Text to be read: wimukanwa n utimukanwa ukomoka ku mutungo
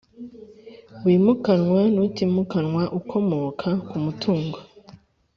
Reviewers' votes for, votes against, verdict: 2, 0, accepted